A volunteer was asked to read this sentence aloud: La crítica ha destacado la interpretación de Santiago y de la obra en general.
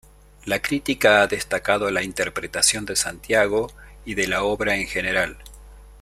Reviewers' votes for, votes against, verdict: 2, 0, accepted